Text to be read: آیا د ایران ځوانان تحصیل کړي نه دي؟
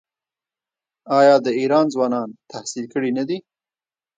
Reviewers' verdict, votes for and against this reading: rejected, 1, 2